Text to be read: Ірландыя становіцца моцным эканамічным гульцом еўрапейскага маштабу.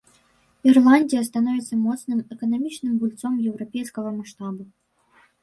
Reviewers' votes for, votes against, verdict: 0, 2, rejected